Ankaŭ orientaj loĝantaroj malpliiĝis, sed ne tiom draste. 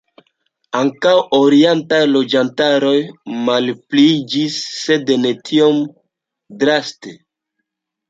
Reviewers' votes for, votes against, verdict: 2, 1, accepted